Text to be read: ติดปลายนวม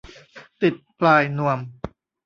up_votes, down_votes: 2, 0